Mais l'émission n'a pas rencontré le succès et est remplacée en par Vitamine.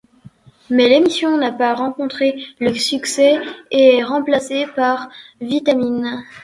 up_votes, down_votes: 1, 2